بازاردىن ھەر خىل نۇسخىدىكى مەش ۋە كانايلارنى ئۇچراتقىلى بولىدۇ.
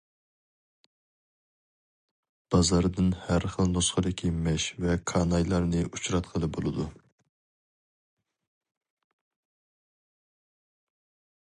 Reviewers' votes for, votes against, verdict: 2, 2, rejected